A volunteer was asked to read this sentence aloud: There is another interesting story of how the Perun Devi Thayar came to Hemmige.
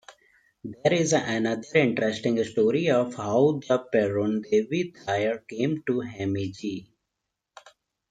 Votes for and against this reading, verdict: 2, 0, accepted